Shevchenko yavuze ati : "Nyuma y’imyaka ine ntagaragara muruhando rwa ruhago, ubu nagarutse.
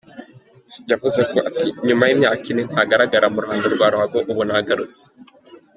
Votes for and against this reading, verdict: 1, 3, rejected